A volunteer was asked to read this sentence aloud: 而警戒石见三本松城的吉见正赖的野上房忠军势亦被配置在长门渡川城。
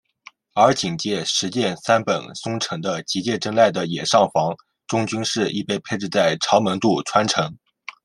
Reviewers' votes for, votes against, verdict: 0, 2, rejected